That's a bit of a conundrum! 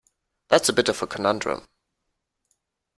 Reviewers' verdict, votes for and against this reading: accepted, 2, 0